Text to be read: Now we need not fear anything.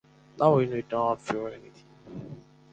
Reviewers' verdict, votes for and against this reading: rejected, 2, 4